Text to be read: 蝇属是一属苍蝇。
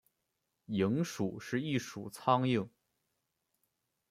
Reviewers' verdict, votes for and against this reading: accepted, 2, 0